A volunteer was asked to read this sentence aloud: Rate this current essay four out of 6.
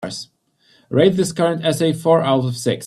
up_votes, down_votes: 0, 2